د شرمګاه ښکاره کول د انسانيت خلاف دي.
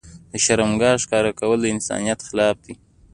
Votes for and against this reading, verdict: 2, 0, accepted